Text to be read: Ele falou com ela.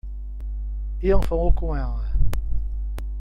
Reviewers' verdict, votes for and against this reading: rejected, 1, 2